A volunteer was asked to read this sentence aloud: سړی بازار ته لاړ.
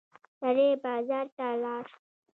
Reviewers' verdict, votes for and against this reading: accepted, 2, 0